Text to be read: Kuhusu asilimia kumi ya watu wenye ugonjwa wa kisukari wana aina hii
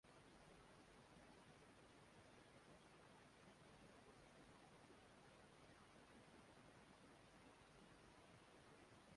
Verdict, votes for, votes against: rejected, 0, 2